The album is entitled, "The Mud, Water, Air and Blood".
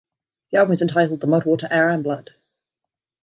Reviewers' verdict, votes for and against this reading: rejected, 1, 2